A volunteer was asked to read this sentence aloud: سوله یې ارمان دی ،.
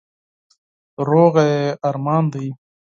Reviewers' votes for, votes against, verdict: 0, 4, rejected